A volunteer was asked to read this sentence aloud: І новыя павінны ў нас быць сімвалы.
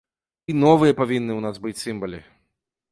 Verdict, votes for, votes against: rejected, 1, 2